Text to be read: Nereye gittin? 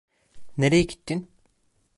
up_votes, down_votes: 2, 0